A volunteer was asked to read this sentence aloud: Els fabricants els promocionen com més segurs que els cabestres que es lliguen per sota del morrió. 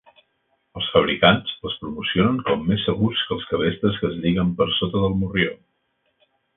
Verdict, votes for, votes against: accepted, 4, 0